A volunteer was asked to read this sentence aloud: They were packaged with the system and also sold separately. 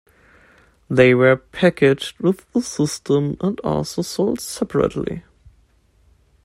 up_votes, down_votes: 2, 1